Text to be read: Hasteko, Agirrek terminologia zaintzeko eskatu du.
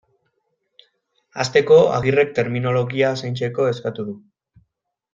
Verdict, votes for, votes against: accepted, 2, 0